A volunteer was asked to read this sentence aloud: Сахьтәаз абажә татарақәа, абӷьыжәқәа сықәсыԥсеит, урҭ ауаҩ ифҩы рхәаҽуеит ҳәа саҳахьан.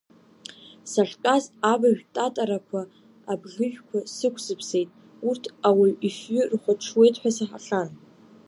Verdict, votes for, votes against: rejected, 0, 2